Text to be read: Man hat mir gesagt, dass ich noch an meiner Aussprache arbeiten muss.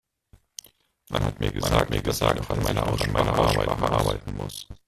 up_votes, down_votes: 0, 2